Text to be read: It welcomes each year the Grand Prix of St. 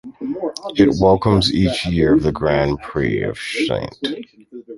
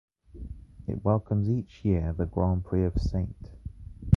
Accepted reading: second